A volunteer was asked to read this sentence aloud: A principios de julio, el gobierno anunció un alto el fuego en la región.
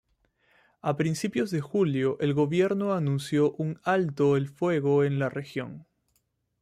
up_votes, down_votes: 2, 0